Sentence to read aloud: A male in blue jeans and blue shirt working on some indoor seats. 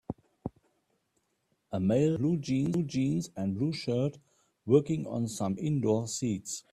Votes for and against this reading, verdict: 0, 2, rejected